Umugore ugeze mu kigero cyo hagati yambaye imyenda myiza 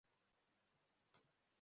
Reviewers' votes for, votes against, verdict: 0, 2, rejected